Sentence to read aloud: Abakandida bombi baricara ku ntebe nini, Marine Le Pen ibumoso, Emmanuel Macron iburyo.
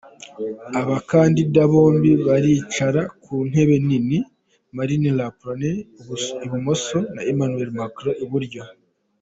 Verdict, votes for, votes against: rejected, 1, 2